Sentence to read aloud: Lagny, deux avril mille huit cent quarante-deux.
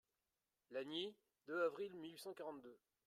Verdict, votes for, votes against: rejected, 0, 2